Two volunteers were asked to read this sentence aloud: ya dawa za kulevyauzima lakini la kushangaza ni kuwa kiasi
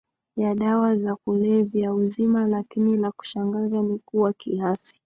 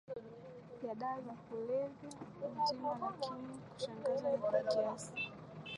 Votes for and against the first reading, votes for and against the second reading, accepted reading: 3, 1, 2, 3, first